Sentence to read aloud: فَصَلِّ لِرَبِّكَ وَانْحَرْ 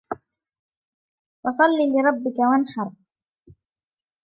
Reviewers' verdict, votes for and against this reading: accepted, 3, 0